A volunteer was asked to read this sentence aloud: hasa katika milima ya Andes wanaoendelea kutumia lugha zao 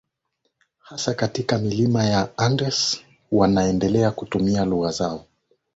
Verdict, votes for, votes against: rejected, 3, 4